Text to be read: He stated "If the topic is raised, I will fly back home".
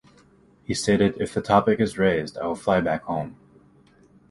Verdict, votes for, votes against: accepted, 2, 0